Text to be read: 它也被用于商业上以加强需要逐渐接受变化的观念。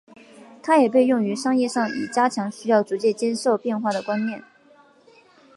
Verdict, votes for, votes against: accepted, 3, 0